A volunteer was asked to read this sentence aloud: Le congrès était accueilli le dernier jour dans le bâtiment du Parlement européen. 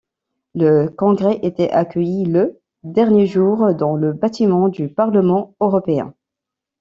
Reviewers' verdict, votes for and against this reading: accepted, 2, 1